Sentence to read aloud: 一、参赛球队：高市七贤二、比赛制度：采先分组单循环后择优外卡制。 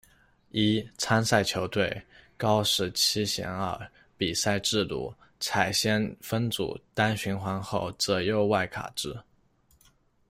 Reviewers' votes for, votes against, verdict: 2, 0, accepted